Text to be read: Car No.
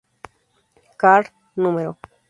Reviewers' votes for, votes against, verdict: 0, 2, rejected